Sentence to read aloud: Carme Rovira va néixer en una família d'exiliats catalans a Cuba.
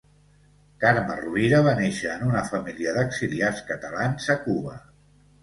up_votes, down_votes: 2, 0